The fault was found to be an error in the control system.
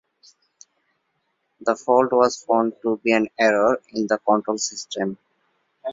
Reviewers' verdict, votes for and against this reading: accepted, 2, 0